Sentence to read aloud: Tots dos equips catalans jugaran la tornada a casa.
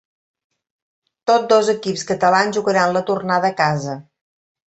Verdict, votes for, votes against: rejected, 1, 2